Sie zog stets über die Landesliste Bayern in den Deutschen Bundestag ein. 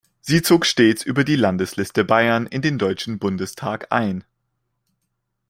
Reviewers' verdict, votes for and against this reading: accepted, 2, 0